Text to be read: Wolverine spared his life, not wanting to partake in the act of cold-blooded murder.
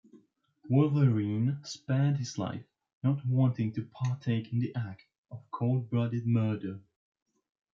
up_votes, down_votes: 2, 0